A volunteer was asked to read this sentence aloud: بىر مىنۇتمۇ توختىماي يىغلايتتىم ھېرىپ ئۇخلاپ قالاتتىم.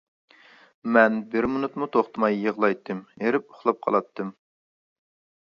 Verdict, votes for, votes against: rejected, 0, 2